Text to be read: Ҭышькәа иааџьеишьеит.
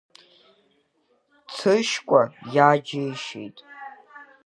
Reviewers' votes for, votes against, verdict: 2, 0, accepted